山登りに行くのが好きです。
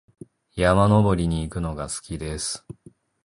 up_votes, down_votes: 0, 2